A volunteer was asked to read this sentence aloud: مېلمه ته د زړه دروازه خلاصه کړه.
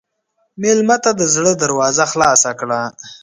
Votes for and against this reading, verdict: 2, 0, accepted